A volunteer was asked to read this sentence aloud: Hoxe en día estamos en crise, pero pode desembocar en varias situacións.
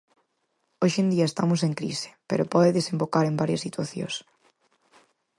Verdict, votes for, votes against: accepted, 4, 0